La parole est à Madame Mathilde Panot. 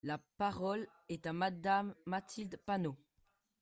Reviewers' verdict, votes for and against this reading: accepted, 3, 0